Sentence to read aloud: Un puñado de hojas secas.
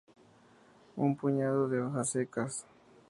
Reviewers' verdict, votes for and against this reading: accepted, 2, 0